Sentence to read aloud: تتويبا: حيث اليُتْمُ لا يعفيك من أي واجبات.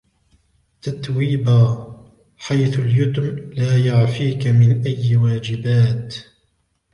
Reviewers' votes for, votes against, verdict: 2, 0, accepted